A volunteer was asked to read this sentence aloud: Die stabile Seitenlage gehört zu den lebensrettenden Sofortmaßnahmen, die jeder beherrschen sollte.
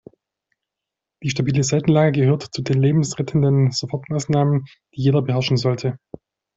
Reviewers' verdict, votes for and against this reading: rejected, 0, 2